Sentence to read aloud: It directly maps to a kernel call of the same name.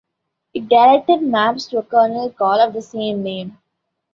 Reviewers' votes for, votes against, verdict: 0, 2, rejected